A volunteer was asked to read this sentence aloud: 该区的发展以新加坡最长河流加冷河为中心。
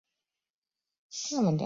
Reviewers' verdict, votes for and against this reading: rejected, 0, 2